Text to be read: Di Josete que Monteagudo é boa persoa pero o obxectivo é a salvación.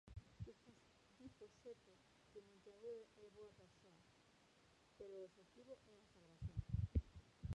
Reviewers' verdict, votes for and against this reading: rejected, 0, 2